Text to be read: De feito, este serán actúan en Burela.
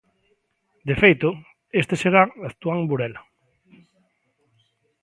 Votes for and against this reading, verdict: 2, 0, accepted